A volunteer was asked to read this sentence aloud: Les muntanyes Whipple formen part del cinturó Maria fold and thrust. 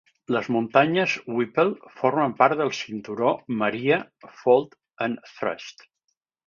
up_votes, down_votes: 4, 0